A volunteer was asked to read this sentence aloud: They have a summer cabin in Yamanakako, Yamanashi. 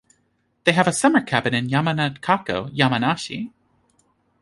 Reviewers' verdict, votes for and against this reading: accepted, 2, 0